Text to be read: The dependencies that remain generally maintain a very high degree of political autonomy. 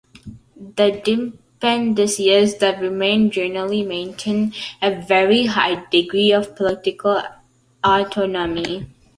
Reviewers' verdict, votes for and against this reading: accepted, 2, 0